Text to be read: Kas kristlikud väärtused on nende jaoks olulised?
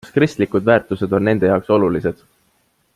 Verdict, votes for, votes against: accepted, 2, 0